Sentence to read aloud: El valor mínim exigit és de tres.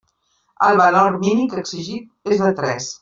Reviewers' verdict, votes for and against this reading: rejected, 0, 2